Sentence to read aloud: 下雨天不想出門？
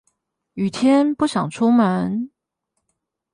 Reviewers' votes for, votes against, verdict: 0, 8, rejected